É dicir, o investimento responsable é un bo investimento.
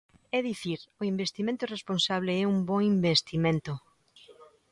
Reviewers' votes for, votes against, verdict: 2, 0, accepted